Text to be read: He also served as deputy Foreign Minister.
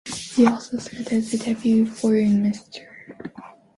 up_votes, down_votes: 1, 2